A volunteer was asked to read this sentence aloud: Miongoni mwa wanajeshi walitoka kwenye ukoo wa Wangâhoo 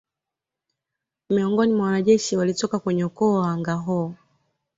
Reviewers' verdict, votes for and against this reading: accepted, 2, 0